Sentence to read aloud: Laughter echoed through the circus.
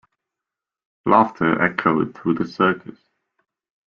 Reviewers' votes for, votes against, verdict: 2, 0, accepted